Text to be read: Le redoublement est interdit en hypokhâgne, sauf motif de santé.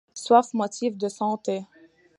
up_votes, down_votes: 0, 2